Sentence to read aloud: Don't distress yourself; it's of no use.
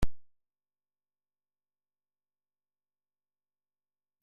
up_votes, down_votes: 0, 2